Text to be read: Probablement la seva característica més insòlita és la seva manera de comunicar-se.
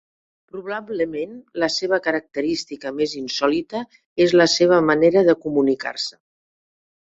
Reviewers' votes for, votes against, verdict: 0, 2, rejected